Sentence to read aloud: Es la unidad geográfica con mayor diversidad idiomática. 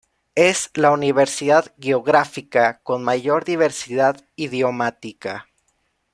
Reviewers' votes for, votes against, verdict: 1, 2, rejected